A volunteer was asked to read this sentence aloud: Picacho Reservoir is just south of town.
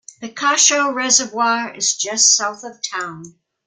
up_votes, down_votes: 2, 0